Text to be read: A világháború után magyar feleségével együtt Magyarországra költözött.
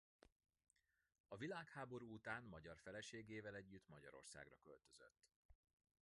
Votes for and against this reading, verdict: 1, 2, rejected